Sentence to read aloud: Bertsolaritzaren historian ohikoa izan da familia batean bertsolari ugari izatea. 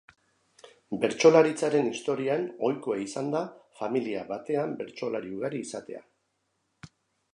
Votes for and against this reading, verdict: 2, 0, accepted